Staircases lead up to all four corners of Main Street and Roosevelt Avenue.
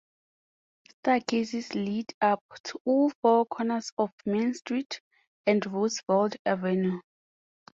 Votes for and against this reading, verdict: 2, 0, accepted